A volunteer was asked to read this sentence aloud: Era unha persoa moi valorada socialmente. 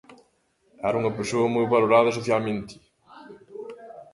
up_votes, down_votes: 0, 2